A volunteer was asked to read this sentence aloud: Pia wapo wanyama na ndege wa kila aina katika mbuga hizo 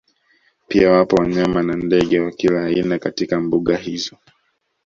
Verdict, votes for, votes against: accepted, 2, 1